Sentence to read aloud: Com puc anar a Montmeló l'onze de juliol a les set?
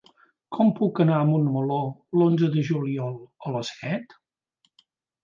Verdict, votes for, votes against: accepted, 4, 0